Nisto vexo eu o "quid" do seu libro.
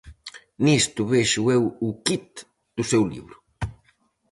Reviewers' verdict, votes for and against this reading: accepted, 4, 0